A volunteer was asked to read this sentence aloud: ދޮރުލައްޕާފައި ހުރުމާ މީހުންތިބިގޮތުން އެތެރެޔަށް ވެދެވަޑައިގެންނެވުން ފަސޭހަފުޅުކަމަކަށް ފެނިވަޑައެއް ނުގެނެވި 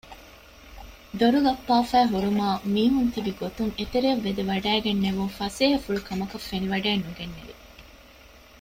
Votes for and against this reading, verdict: 1, 2, rejected